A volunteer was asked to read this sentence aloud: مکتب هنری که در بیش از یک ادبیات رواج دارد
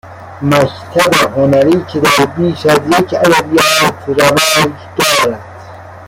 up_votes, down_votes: 1, 2